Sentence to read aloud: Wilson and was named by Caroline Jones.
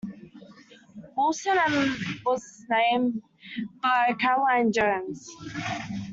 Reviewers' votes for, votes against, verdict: 2, 1, accepted